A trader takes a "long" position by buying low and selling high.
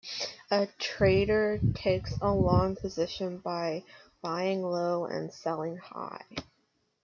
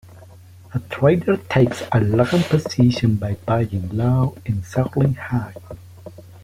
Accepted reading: first